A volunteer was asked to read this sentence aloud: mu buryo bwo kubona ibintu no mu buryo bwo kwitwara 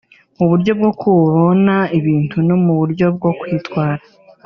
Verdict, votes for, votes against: rejected, 1, 2